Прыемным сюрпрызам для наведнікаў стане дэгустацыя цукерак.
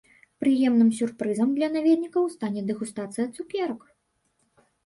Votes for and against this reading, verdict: 2, 0, accepted